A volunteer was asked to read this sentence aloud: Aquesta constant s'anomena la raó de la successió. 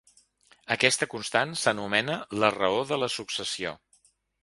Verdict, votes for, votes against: accepted, 3, 0